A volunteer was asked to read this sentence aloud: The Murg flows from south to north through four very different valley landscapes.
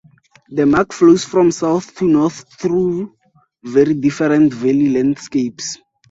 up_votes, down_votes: 2, 4